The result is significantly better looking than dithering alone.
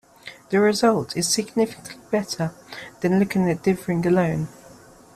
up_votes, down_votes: 1, 2